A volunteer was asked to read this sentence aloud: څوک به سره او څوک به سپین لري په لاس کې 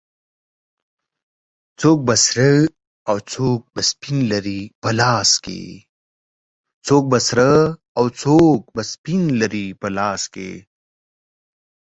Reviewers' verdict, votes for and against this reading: rejected, 7, 14